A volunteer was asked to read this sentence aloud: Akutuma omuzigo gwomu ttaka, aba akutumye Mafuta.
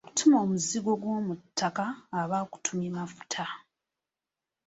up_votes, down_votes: 2, 0